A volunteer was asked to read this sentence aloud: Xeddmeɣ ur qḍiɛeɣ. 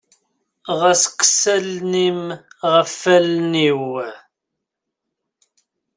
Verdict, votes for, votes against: rejected, 0, 2